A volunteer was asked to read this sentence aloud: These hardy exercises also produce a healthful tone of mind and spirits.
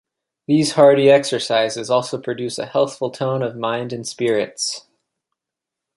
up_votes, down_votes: 2, 0